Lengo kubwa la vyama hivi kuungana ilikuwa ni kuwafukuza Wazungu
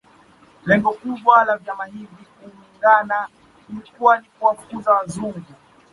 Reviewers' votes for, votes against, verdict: 0, 2, rejected